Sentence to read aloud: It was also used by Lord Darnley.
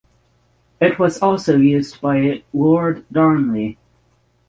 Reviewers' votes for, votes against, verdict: 6, 0, accepted